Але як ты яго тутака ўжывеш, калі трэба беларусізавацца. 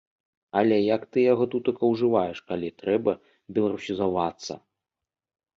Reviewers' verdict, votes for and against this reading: rejected, 0, 2